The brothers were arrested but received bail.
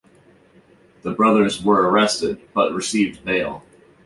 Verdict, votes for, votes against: accepted, 2, 0